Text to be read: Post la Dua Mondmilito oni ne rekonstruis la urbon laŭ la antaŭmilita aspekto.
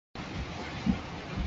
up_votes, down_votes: 0, 2